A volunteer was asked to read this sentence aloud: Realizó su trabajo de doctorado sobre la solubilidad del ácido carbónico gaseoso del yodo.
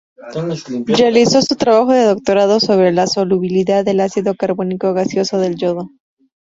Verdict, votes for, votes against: rejected, 0, 2